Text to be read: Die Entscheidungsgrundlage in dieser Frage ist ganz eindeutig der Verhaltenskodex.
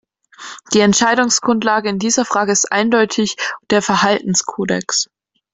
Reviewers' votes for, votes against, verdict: 1, 2, rejected